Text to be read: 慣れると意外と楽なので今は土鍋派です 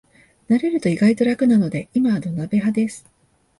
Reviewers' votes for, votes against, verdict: 2, 1, accepted